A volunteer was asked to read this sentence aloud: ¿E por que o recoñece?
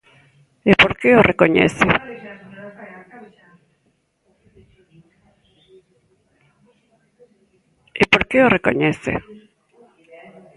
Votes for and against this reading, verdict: 0, 2, rejected